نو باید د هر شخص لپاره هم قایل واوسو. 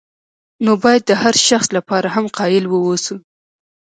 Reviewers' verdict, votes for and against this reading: rejected, 0, 2